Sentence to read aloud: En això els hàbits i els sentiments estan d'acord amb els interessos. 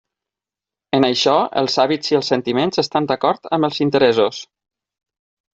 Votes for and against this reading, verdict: 3, 6, rejected